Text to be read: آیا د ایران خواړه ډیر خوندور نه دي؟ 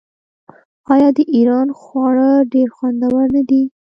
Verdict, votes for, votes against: rejected, 1, 2